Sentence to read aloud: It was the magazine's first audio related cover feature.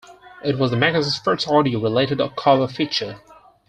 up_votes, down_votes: 2, 4